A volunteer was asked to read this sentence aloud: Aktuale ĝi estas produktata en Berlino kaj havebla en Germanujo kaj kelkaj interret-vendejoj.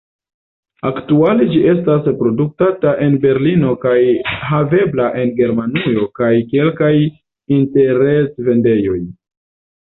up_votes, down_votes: 2, 0